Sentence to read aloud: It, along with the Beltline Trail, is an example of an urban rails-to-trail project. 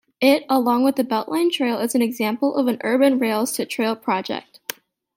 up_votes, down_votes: 2, 1